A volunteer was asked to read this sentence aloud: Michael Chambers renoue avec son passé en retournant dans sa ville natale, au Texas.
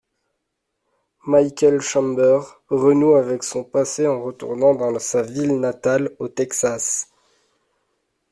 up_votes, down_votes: 2, 0